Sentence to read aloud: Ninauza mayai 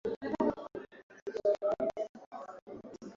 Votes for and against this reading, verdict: 4, 8, rejected